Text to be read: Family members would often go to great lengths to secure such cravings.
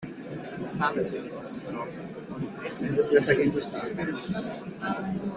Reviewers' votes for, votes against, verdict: 0, 2, rejected